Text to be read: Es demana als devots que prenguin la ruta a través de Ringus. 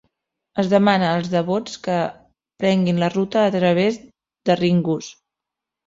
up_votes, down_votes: 0, 2